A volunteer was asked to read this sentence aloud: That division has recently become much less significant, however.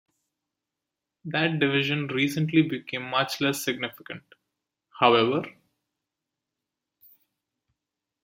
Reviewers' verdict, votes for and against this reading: rejected, 0, 2